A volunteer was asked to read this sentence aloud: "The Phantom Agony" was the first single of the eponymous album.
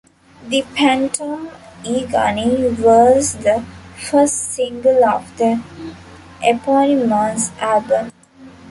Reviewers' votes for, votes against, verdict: 1, 2, rejected